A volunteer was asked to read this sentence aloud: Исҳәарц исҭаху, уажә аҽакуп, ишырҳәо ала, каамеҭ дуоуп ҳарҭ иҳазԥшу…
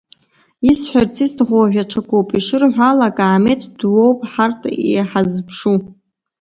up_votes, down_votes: 0, 2